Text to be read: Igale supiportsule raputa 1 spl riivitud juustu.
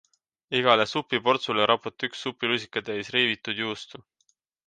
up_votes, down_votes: 0, 2